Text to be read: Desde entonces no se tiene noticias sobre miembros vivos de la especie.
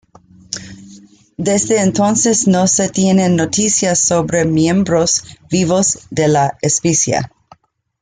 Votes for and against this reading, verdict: 1, 2, rejected